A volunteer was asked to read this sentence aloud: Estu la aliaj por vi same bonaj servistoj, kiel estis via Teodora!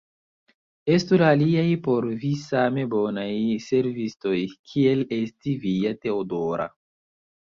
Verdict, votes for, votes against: accepted, 2, 0